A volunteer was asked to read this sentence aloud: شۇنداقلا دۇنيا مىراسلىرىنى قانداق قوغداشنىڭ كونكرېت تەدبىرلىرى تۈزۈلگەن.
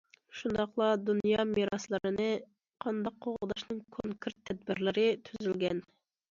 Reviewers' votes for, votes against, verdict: 2, 0, accepted